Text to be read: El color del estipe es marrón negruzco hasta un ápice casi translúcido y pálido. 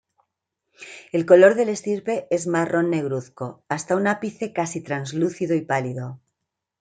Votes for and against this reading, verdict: 1, 2, rejected